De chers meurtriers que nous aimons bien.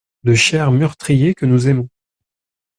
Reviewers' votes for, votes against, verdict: 0, 2, rejected